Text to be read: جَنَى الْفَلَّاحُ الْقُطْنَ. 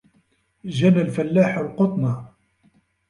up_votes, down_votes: 2, 0